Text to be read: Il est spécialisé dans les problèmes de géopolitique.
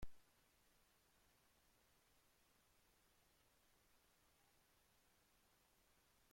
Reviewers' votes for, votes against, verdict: 0, 2, rejected